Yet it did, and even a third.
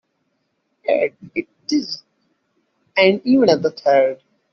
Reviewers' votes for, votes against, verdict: 0, 2, rejected